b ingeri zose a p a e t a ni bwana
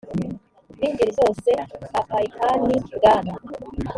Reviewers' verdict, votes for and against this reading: rejected, 0, 2